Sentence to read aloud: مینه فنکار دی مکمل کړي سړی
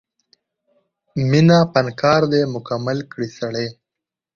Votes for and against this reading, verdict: 2, 0, accepted